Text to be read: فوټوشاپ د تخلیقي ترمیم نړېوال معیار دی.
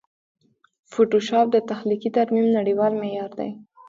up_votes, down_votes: 1, 2